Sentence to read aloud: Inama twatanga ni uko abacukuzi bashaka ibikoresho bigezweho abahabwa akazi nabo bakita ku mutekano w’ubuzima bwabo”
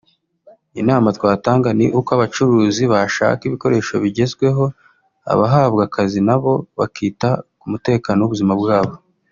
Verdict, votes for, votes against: accepted, 4, 0